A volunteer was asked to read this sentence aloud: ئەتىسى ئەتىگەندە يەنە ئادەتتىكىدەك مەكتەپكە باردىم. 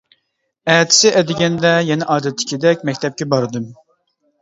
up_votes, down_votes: 2, 0